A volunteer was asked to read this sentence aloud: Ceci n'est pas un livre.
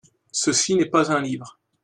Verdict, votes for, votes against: accepted, 2, 0